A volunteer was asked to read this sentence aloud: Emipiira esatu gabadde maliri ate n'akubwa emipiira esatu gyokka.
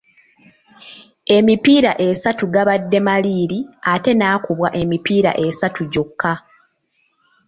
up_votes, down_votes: 0, 2